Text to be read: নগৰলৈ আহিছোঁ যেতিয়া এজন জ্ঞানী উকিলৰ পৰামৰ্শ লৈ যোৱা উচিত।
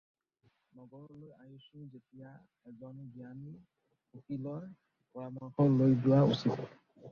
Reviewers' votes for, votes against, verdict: 0, 4, rejected